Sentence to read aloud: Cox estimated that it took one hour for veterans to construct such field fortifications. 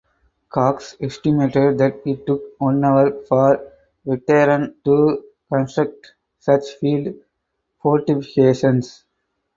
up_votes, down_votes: 2, 2